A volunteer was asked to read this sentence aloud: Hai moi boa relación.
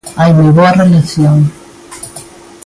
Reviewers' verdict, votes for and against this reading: accepted, 2, 1